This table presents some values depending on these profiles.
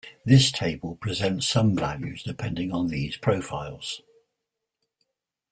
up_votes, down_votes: 2, 0